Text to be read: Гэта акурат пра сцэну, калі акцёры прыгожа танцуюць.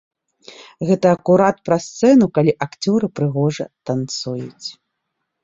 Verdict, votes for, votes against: accepted, 2, 0